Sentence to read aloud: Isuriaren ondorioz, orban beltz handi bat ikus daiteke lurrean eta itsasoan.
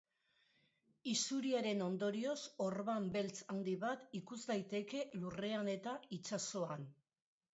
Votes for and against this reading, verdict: 2, 0, accepted